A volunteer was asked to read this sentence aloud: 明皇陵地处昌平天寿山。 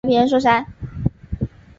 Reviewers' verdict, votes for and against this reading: rejected, 0, 2